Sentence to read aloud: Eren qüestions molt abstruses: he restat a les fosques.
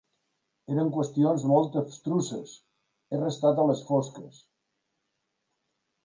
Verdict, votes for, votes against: accepted, 2, 0